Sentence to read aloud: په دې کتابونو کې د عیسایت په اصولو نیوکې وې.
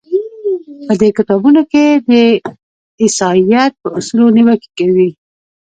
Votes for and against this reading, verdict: 0, 2, rejected